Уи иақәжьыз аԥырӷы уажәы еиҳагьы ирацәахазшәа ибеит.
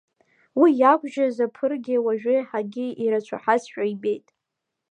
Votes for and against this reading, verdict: 2, 1, accepted